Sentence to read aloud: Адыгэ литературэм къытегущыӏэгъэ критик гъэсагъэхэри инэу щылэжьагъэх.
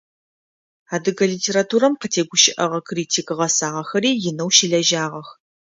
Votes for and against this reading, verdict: 2, 0, accepted